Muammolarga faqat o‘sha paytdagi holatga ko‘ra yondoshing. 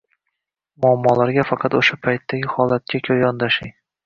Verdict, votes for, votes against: accepted, 2, 0